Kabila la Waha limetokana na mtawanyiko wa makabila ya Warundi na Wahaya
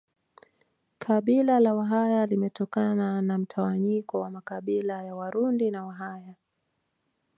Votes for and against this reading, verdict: 0, 2, rejected